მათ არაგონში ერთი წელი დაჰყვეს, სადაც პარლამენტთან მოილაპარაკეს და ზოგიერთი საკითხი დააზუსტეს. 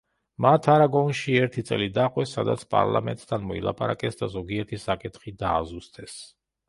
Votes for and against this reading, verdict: 1, 2, rejected